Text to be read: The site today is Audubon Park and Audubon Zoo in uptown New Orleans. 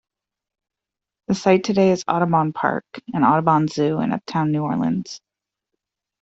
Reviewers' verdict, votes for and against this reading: accepted, 2, 0